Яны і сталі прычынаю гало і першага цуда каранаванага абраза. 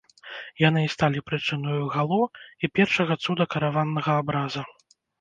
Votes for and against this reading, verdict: 1, 2, rejected